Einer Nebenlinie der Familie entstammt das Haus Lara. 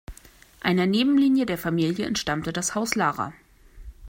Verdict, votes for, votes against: rejected, 1, 2